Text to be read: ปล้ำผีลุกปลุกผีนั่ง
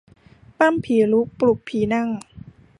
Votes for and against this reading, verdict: 2, 0, accepted